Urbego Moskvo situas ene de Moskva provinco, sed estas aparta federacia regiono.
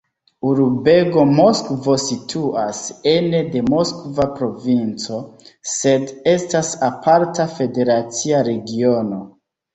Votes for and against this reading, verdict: 0, 2, rejected